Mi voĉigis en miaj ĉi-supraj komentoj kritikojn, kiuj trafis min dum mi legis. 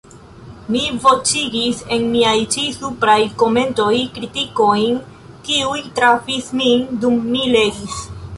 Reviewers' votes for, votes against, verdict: 1, 2, rejected